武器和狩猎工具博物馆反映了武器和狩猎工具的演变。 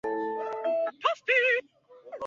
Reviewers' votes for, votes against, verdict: 1, 6, rejected